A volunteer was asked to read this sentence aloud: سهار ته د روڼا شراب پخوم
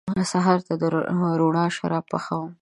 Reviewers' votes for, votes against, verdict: 1, 2, rejected